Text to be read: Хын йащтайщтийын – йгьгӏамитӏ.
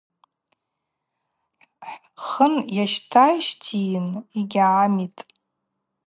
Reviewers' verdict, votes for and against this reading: rejected, 0, 2